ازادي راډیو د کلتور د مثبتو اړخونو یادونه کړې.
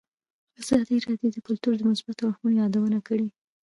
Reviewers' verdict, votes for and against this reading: rejected, 0, 2